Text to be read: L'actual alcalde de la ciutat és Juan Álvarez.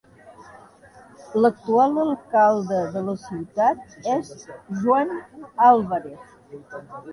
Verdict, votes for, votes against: rejected, 0, 3